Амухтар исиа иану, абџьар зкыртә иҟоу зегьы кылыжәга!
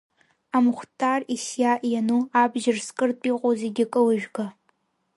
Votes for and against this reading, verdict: 1, 2, rejected